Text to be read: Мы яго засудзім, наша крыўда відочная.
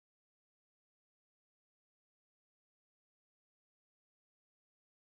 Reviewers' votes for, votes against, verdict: 0, 2, rejected